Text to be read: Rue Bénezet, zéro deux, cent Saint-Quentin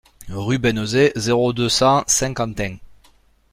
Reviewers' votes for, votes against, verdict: 0, 2, rejected